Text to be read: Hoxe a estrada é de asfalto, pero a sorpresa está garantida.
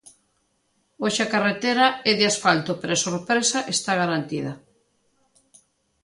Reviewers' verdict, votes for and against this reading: rejected, 1, 2